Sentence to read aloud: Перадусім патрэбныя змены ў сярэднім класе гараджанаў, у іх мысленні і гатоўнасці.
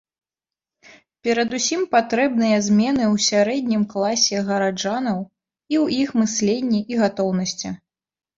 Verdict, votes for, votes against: accepted, 2, 0